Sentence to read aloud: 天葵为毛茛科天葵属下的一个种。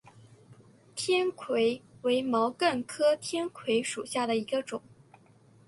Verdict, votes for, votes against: accepted, 7, 1